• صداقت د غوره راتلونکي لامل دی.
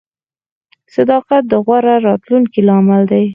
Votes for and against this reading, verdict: 2, 4, rejected